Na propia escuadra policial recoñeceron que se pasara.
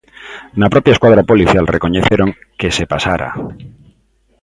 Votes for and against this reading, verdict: 3, 0, accepted